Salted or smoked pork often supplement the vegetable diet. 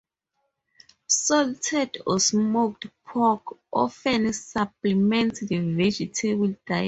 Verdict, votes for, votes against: rejected, 0, 4